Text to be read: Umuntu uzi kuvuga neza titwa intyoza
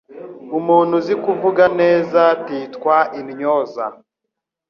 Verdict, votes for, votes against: accepted, 2, 0